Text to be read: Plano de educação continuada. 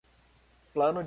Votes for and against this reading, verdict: 0, 2, rejected